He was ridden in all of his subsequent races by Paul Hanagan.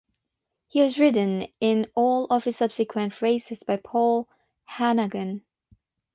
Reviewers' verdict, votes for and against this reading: accepted, 6, 3